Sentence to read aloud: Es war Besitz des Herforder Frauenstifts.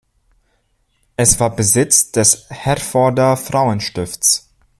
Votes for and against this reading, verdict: 2, 0, accepted